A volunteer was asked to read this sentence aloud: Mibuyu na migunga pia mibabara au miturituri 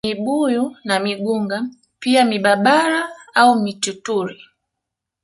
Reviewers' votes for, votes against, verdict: 0, 2, rejected